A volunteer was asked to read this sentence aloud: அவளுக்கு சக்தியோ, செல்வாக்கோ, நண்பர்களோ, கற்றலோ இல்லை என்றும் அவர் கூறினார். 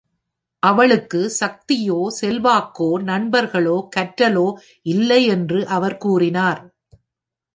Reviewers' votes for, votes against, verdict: 1, 2, rejected